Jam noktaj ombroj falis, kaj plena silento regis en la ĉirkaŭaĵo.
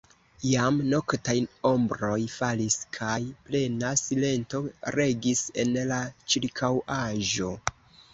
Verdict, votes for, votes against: rejected, 1, 2